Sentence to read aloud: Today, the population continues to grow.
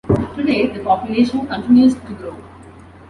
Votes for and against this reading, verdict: 2, 0, accepted